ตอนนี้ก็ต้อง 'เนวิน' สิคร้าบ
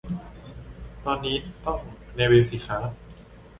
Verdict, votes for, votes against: rejected, 0, 2